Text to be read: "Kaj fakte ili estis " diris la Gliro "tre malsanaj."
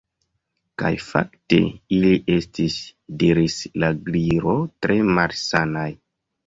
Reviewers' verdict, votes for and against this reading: accepted, 2, 0